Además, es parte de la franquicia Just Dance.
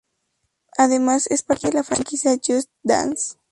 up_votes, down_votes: 2, 0